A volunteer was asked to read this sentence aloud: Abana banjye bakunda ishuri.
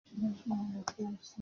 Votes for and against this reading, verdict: 0, 2, rejected